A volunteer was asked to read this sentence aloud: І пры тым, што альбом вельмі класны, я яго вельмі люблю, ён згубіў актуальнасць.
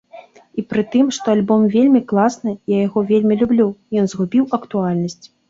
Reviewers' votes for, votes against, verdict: 2, 0, accepted